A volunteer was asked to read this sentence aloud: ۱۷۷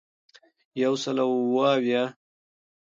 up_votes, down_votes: 0, 2